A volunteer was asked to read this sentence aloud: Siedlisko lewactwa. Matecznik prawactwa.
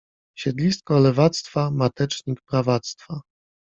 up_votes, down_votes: 2, 0